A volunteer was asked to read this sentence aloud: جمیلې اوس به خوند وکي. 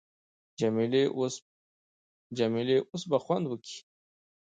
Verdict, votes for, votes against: rejected, 1, 2